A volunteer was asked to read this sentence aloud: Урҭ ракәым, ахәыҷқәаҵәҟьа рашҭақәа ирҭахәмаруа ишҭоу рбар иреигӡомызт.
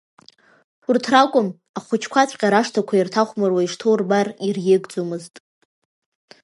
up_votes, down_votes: 1, 2